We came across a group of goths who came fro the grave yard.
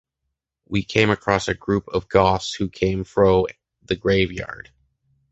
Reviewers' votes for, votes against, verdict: 2, 0, accepted